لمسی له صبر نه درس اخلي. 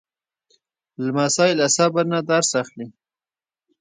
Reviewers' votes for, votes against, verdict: 1, 2, rejected